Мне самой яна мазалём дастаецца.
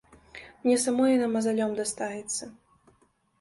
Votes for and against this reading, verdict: 1, 2, rejected